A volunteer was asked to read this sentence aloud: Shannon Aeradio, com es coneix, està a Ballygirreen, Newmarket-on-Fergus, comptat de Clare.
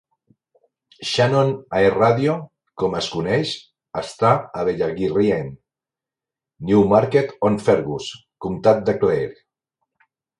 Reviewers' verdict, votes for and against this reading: rejected, 1, 2